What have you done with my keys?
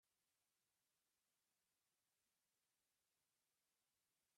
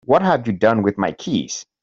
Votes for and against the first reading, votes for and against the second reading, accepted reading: 0, 2, 3, 0, second